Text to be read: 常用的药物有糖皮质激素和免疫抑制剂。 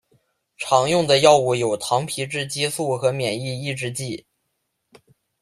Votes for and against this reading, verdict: 2, 0, accepted